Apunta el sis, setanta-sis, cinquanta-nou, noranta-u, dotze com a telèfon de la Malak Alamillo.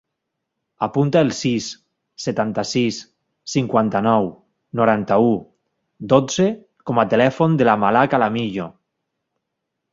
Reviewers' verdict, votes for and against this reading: accepted, 2, 0